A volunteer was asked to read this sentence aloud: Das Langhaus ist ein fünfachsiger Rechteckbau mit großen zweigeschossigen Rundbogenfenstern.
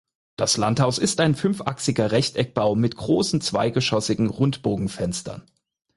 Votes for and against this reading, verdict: 0, 4, rejected